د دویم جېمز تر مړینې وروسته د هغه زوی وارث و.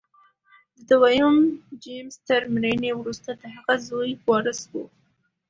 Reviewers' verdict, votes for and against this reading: accepted, 2, 0